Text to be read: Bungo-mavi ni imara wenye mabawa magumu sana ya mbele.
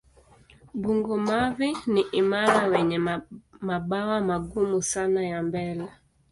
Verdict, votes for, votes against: accepted, 2, 1